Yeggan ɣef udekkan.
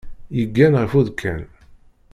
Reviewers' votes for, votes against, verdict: 1, 2, rejected